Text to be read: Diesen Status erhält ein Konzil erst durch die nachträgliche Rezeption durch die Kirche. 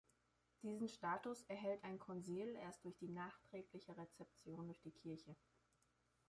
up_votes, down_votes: 1, 2